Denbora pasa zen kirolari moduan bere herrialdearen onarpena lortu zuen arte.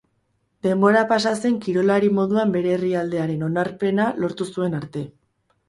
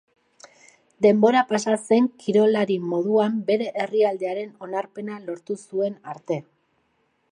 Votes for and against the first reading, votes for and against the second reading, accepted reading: 0, 2, 4, 0, second